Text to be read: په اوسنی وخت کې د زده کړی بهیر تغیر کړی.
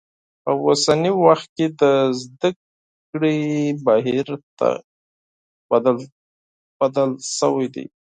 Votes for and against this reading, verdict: 0, 4, rejected